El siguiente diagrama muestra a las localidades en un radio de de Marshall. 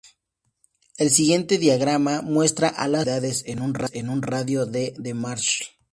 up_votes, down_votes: 2, 0